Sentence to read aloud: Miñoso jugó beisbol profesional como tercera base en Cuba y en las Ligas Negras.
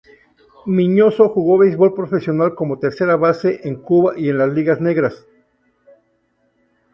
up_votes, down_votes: 2, 2